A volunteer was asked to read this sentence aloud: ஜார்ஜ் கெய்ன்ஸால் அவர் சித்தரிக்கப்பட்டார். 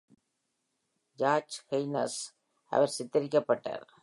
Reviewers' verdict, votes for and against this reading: accepted, 2, 0